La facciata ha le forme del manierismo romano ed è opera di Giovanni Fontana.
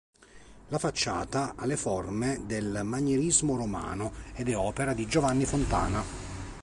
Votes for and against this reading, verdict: 2, 0, accepted